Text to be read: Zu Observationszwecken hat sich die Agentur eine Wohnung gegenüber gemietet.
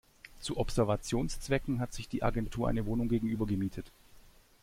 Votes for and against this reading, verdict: 2, 0, accepted